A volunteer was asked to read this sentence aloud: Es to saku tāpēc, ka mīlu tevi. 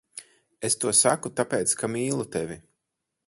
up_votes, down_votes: 2, 4